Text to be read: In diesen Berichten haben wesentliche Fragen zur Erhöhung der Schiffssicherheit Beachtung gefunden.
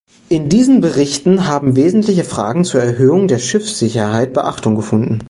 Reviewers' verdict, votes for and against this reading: accepted, 2, 0